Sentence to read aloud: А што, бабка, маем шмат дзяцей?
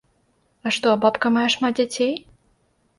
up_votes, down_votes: 0, 2